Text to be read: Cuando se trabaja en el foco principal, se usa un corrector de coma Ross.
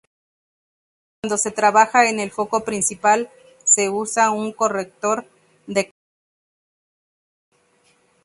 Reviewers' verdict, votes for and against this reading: rejected, 0, 4